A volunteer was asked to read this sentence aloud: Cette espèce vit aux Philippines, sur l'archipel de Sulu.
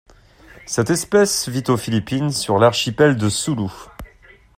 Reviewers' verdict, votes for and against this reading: accepted, 2, 0